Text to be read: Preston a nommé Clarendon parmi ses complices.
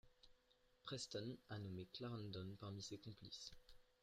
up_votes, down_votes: 2, 0